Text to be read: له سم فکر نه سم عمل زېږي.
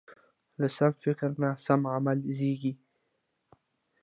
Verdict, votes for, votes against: accepted, 2, 0